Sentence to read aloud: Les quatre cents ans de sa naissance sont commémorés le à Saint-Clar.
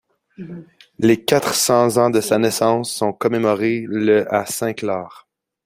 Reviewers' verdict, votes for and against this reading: accepted, 2, 0